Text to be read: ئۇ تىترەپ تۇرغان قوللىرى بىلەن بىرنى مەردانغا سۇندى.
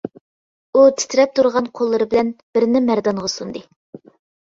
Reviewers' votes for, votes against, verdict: 2, 0, accepted